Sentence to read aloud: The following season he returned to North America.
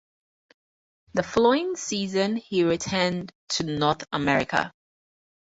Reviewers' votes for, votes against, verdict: 4, 0, accepted